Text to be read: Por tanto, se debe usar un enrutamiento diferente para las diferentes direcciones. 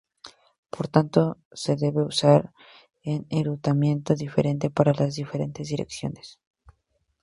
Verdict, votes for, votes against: accepted, 2, 0